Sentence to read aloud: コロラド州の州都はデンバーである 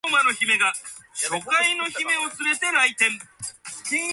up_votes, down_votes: 0, 2